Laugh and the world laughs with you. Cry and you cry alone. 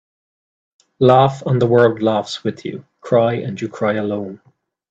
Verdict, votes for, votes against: accepted, 2, 0